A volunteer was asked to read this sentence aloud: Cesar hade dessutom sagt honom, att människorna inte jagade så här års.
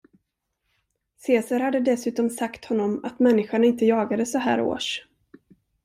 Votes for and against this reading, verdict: 0, 2, rejected